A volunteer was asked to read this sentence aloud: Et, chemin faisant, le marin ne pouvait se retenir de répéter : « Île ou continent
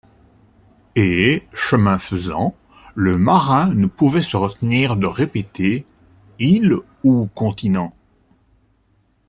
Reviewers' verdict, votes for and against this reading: accepted, 2, 0